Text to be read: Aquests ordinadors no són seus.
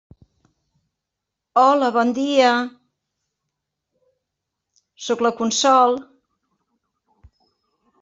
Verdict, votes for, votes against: rejected, 0, 2